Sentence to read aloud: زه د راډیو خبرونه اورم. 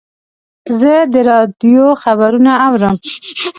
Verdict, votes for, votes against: accepted, 2, 0